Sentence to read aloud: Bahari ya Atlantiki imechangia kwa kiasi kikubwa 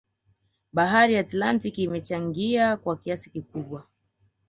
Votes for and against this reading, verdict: 1, 2, rejected